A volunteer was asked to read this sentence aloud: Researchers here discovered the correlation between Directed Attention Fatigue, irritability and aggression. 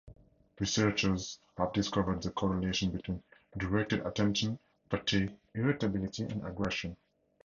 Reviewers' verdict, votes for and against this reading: accepted, 4, 2